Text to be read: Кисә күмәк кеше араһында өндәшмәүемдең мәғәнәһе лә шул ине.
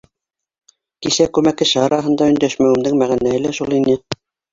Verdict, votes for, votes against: rejected, 0, 2